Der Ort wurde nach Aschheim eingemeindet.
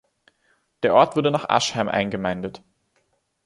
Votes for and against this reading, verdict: 2, 0, accepted